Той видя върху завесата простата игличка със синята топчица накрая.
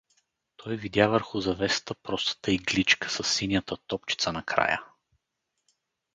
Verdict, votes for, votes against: accepted, 2, 0